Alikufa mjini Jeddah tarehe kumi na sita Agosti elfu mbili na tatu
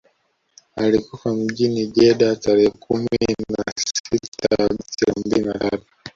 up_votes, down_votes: 0, 2